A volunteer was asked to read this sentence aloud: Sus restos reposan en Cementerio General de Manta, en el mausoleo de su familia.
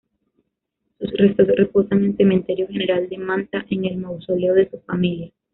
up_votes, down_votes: 1, 2